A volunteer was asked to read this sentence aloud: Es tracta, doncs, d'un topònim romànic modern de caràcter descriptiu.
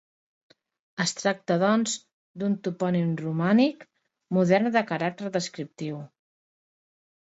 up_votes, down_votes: 2, 0